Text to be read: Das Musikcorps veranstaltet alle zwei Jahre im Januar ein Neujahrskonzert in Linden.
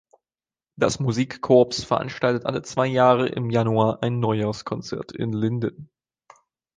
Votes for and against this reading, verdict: 2, 0, accepted